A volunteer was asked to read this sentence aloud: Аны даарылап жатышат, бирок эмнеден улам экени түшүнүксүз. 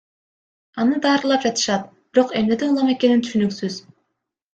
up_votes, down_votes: 1, 2